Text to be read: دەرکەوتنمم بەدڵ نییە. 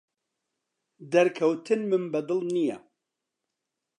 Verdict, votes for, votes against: accepted, 2, 0